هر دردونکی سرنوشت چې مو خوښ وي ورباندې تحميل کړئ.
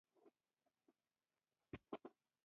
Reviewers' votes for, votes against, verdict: 0, 2, rejected